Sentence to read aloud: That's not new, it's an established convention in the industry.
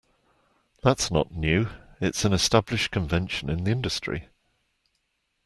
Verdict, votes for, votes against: accepted, 2, 1